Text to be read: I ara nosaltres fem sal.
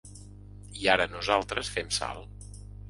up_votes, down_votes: 3, 0